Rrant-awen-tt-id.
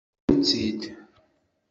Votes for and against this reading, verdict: 1, 2, rejected